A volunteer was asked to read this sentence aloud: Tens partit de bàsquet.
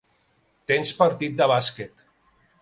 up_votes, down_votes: 2, 0